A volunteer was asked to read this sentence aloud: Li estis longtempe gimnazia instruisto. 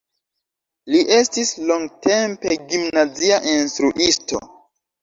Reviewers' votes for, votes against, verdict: 0, 2, rejected